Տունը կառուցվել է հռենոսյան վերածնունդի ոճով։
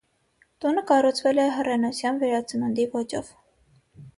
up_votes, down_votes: 6, 0